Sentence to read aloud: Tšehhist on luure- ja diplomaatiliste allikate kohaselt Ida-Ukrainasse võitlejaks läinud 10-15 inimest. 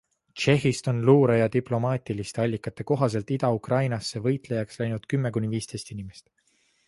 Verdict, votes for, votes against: rejected, 0, 2